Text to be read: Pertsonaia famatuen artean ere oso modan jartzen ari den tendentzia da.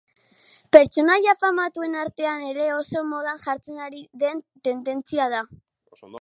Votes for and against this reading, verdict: 0, 2, rejected